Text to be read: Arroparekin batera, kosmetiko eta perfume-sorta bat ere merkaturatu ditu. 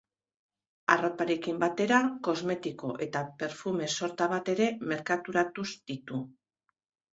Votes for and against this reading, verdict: 0, 2, rejected